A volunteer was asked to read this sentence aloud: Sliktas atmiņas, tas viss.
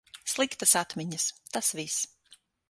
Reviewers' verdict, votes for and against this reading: accepted, 6, 0